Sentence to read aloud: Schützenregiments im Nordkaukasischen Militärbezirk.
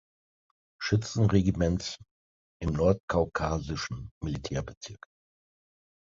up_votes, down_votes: 3, 0